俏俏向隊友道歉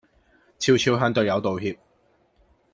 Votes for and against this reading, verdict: 2, 0, accepted